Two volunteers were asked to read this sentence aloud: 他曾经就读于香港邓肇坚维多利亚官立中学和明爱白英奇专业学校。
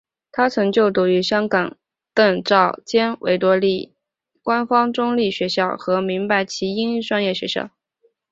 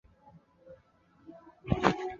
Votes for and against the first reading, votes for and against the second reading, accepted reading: 0, 3, 5, 3, second